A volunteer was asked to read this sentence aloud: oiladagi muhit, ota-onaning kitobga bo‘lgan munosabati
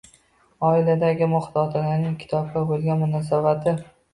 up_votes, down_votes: 0, 2